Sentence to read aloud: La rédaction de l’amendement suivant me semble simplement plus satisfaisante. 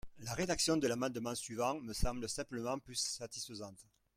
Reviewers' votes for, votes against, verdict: 1, 2, rejected